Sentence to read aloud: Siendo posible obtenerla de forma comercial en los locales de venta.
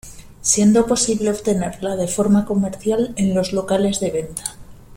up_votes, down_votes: 2, 0